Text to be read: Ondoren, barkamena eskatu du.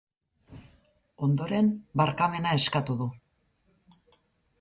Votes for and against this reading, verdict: 6, 0, accepted